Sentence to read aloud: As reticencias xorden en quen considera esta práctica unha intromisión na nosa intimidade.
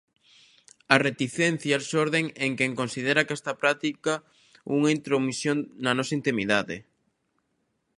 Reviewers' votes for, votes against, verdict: 1, 2, rejected